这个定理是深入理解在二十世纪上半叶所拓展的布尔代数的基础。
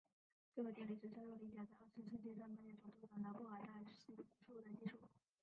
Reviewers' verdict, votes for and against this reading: rejected, 1, 4